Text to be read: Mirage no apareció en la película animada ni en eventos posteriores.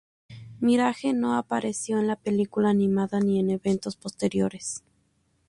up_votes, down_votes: 4, 0